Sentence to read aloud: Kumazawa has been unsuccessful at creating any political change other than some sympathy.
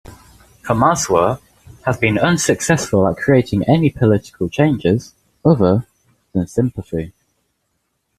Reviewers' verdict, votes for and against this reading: rejected, 0, 2